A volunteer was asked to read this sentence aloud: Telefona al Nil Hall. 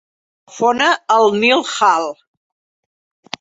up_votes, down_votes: 0, 2